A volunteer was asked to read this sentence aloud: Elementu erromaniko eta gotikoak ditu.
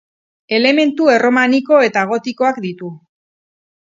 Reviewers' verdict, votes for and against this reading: accepted, 6, 0